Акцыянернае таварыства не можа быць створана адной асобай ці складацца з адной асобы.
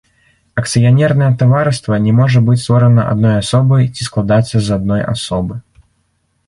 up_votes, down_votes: 1, 2